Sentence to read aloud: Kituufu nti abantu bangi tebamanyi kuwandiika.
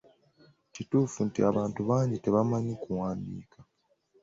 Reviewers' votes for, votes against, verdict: 2, 0, accepted